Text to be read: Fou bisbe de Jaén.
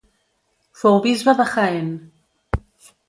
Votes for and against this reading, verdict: 1, 2, rejected